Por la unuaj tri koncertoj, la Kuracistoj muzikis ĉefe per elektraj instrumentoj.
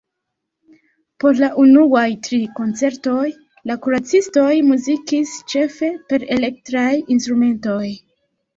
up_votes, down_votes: 2, 0